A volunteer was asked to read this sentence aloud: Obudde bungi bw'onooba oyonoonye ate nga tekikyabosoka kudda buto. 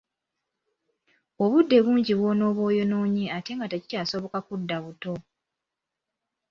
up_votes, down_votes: 2, 0